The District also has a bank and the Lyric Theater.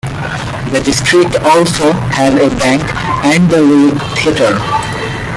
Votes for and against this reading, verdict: 0, 2, rejected